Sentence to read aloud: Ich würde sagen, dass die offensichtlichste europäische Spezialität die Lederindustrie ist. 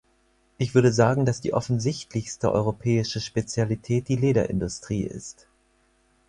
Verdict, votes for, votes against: accepted, 4, 0